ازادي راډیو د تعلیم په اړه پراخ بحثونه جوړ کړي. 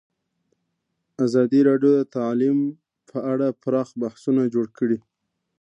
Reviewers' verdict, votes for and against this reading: accepted, 2, 0